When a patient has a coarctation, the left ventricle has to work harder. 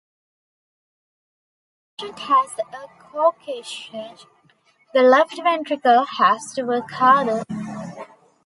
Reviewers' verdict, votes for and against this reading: rejected, 1, 2